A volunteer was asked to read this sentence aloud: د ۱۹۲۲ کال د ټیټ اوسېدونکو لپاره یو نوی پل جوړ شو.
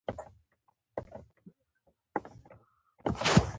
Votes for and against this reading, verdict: 0, 2, rejected